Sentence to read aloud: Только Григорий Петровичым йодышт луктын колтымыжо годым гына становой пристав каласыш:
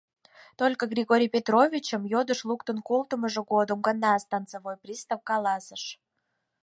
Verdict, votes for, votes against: accepted, 4, 2